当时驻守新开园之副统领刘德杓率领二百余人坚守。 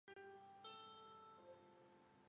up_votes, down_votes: 0, 2